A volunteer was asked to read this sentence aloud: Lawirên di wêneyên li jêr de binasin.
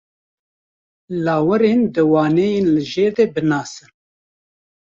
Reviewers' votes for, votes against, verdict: 1, 2, rejected